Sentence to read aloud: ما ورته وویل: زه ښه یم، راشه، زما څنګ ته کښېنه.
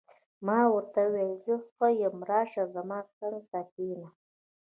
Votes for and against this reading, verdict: 1, 2, rejected